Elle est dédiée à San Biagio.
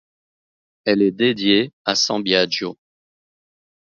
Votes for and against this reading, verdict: 1, 2, rejected